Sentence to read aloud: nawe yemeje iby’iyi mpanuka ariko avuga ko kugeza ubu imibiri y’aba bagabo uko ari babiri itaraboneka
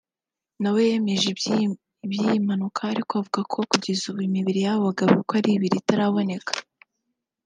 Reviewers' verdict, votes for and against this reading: rejected, 1, 2